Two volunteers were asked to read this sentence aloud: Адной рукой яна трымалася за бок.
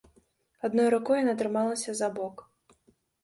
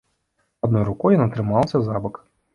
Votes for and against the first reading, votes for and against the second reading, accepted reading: 3, 0, 1, 2, first